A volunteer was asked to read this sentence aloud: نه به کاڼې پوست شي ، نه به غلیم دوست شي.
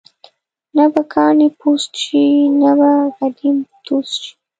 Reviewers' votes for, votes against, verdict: 0, 2, rejected